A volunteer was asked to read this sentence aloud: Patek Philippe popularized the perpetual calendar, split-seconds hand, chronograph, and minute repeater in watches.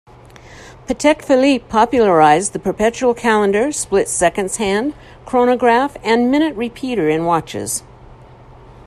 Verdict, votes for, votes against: accepted, 2, 0